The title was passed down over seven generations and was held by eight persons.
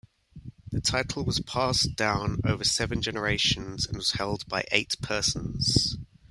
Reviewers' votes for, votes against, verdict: 1, 2, rejected